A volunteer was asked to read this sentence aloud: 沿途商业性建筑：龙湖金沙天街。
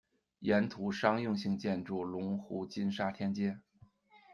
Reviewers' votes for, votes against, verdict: 0, 2, rejected